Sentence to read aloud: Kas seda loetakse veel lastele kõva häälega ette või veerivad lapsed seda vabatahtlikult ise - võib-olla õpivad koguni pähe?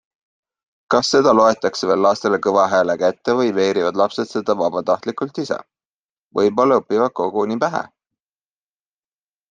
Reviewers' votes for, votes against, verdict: 2, 0, accepted